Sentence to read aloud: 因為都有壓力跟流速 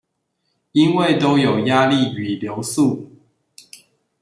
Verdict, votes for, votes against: rejected, 0, 2